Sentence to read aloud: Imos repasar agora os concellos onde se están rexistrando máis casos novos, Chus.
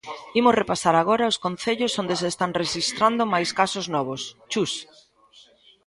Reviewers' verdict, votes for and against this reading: accepted, 2, 1